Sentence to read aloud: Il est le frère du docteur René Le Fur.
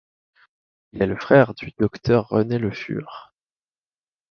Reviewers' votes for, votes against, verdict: 2, 1, accepted